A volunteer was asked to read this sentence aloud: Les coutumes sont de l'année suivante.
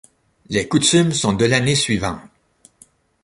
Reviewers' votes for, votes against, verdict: 0, 2, rejected